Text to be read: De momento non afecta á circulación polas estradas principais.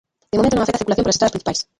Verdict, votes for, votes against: rejected, 0, 2